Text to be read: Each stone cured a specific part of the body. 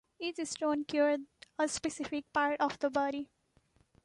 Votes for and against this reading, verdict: 2, 1, accepted